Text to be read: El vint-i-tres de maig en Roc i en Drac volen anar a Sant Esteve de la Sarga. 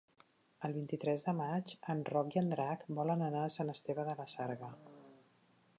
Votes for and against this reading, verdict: 3, 0, accepted